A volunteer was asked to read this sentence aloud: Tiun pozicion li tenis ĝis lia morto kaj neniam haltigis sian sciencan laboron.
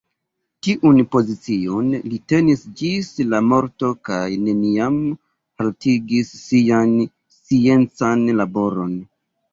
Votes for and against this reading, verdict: 3, 2, accepted